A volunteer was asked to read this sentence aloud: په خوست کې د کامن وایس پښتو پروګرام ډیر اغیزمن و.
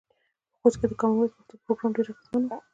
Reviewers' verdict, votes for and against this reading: accepted, 2, 0